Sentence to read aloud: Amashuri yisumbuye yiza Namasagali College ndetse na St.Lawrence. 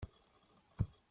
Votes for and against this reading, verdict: 0, 2, rejected